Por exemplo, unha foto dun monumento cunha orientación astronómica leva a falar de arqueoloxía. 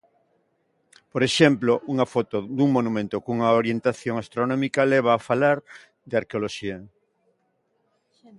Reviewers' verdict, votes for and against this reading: accepted, 2, 0